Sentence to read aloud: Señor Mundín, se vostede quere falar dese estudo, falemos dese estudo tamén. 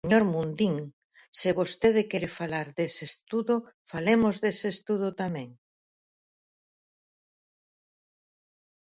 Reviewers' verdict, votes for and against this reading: rejected, 2, 4